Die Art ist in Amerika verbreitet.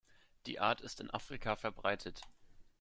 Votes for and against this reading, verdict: 0, 2, rejected